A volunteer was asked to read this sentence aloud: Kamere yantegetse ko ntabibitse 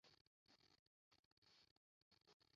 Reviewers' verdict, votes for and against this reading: rejected, 0, 2